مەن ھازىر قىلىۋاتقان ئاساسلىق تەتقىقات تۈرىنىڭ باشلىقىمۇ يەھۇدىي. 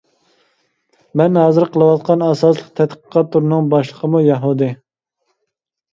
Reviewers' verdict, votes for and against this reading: accepted, 2, 0